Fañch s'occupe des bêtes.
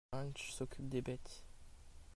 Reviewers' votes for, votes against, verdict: 2, 0, accepted